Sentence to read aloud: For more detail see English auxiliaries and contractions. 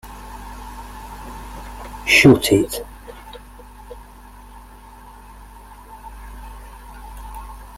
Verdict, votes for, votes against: rejected, 0, 2